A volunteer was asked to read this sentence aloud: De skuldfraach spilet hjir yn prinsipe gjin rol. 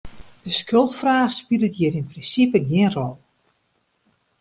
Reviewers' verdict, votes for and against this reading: accepted, 2, 0